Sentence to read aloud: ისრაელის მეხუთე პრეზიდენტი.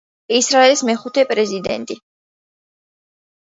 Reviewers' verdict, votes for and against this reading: accepted, 2, 0